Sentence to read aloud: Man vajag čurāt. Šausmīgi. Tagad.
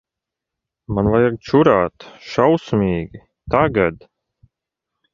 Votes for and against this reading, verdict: 2, 0, accepted